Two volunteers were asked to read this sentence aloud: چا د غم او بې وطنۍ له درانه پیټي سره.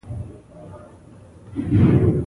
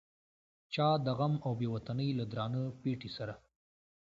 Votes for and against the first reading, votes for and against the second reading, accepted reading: 0, 2, 2, 1, second